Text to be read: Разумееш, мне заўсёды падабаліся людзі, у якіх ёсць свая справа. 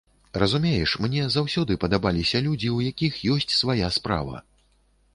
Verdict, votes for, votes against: accepted, 2, 0